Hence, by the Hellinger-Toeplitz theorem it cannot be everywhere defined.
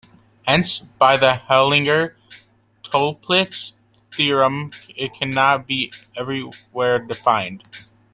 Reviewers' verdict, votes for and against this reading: rejected, 1, 2